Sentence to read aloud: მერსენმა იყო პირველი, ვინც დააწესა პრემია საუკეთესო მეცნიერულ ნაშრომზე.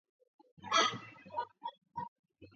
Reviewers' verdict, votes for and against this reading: rejected, 1, 2